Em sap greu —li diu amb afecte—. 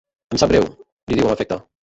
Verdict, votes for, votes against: rejected, 1, 2